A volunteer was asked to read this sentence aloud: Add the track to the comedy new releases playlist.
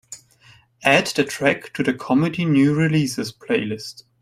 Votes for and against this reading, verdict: 2, 0, accepted